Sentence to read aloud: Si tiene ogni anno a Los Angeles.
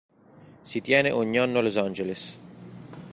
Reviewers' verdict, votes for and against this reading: accepted, 2, 0